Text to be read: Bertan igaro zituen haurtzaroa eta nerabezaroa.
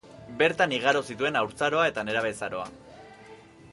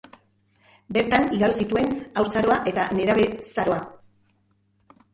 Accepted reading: first